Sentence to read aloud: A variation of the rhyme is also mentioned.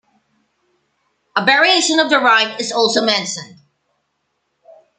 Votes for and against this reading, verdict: 0, 2, rejected